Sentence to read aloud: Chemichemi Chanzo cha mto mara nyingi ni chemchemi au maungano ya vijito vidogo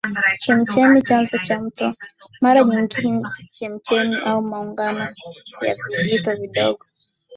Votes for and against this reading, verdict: 0, 2, rejected